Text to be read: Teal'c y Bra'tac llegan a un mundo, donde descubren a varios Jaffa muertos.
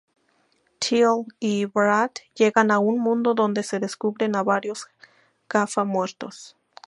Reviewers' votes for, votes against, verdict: 0, 2, rejected